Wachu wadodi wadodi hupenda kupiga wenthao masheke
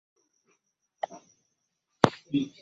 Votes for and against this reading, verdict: 0, 2, rejected